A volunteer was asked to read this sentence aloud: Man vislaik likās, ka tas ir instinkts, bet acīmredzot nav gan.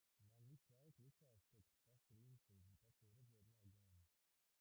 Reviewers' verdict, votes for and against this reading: rejected, 0, 2